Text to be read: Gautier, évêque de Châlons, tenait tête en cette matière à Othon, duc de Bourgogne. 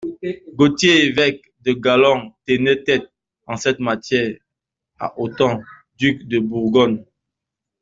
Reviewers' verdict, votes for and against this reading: rejected, 1, 2